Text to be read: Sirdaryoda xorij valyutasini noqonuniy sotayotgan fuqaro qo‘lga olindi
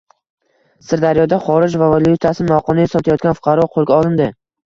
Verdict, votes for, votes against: accepted, 2, 0